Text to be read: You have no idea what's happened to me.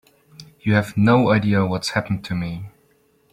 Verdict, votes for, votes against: accepted, 2, 0